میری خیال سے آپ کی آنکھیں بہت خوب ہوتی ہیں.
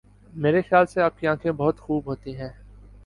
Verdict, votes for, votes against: accepted, 2, 0